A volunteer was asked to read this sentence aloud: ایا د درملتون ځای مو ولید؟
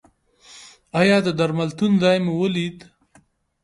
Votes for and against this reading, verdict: 2, 1, accepted